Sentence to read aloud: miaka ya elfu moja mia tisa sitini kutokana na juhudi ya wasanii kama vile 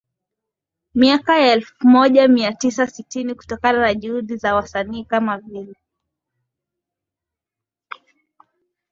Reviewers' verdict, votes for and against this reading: rejected, 0, 2